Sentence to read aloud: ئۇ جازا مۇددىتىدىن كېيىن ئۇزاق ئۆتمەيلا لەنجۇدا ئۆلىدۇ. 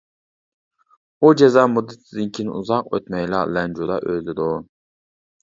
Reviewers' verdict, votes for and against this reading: rejected, 0, 2